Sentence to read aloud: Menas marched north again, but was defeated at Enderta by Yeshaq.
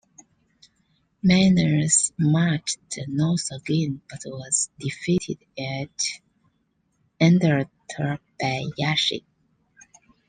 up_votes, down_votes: 2, 0